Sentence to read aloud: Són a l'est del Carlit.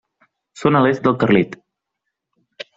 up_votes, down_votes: 3, 0